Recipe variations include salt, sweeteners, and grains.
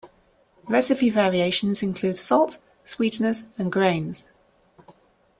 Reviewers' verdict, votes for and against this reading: accepted, 2, 0